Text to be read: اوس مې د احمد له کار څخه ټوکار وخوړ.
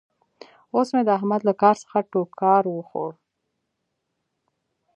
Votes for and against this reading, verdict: 2, 1, accepted